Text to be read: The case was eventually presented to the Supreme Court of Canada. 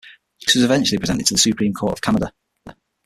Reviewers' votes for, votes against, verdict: 0, 6, rejected